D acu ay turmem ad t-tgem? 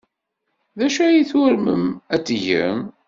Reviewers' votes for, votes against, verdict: 2, 0, accepted